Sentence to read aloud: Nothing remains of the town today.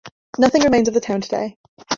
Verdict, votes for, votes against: accepted, 2, 0